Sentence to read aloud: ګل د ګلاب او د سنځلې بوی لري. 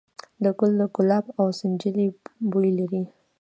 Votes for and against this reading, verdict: 0, 2, rejected